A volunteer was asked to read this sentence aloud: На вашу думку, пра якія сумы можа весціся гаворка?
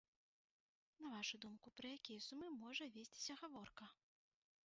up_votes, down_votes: 1, 3